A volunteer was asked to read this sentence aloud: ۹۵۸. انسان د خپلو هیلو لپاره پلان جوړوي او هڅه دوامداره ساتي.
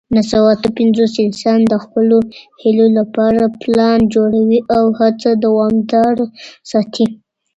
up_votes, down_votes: 0, 2